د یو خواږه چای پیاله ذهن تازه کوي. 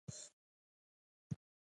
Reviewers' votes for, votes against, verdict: 0, 2, rejected